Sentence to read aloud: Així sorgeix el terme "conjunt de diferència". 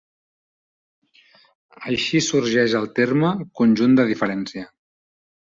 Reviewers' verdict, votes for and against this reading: accepted, 3, 0